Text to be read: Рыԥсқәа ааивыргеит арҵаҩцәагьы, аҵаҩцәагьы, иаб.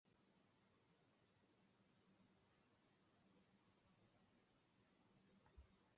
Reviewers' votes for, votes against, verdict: 0, 2, rejected